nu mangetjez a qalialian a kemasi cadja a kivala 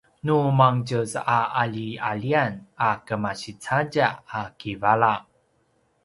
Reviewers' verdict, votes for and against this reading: accepted, 2, 0